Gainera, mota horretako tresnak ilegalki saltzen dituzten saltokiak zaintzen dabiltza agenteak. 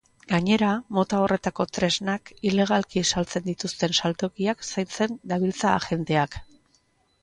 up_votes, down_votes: 2, 0